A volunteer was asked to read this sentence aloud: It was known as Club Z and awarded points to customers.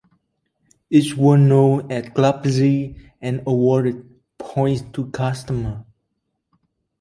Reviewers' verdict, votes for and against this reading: rejected, 1, 2